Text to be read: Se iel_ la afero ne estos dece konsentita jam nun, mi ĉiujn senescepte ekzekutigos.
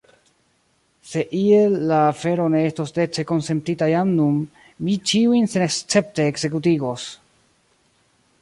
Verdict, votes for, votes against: accepted, 2, 1